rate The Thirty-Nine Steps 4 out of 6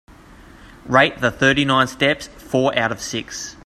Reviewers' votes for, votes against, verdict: 0, 2, rejected